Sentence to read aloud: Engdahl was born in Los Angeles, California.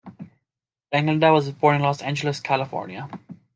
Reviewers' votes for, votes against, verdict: 2, 1, accepted